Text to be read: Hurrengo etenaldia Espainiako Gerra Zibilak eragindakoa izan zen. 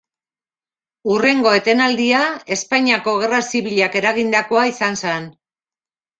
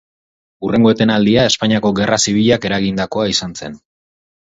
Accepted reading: second